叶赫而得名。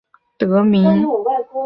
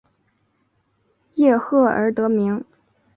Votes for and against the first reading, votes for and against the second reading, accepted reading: 0, 2, 2, 0, second